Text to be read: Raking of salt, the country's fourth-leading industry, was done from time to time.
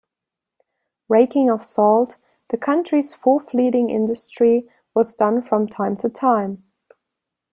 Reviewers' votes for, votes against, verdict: 2, 0, accepted